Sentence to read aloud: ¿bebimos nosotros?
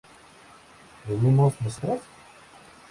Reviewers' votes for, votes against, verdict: 2, 0, accepted